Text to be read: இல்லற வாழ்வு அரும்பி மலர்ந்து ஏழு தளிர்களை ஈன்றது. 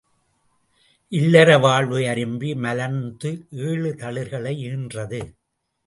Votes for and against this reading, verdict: 2, 1, accepted